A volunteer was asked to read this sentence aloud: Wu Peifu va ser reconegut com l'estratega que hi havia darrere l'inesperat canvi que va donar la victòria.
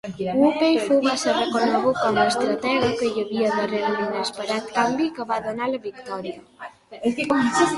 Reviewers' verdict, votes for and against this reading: rejected, 1, 2